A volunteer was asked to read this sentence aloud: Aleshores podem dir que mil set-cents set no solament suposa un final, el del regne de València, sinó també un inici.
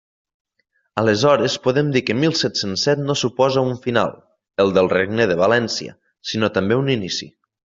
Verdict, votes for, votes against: rejected, 1, 2